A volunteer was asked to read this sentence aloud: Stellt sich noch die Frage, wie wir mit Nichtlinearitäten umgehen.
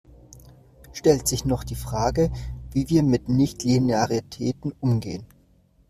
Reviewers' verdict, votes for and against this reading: rejected, 1, 2